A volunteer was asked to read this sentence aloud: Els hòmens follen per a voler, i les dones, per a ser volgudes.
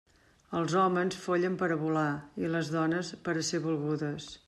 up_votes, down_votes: 0, 2